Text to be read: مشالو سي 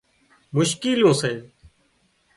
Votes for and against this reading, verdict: 0, 2, rejected